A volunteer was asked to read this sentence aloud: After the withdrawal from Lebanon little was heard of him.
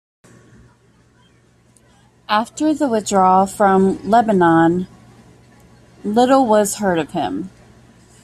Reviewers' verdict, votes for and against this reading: accepted, 2, 0